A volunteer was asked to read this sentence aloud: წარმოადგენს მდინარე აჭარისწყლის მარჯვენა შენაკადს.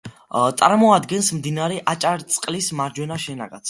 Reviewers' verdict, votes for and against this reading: accepted, 2, 1